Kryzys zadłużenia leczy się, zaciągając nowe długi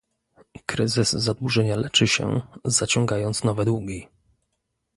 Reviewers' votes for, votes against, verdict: 2, 0, accepted